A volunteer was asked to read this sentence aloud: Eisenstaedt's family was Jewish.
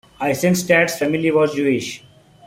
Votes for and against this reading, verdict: 1, 2, rejected